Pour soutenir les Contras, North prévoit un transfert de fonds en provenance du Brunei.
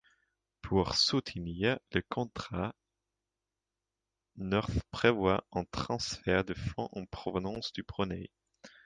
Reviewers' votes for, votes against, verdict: 2, 1, accepted